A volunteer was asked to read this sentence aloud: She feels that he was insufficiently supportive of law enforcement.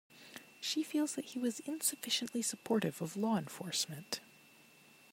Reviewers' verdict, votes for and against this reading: accepted, 2, 0